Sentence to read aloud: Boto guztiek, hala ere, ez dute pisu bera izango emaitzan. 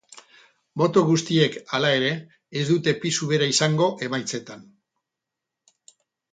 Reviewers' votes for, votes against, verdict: 0, 6, rejected